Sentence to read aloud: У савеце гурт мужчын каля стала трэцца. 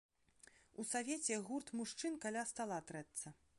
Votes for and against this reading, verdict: 2, 0, accepted